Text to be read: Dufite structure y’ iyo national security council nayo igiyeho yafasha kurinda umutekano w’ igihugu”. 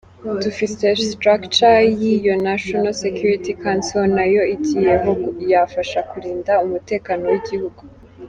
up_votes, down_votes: 1, 2